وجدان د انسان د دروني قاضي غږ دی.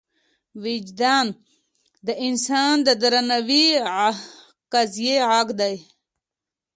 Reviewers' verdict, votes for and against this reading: rejected, 1, 2